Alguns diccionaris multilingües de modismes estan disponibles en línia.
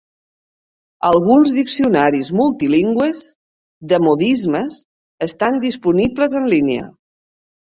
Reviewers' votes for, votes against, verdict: 1, 3, rejected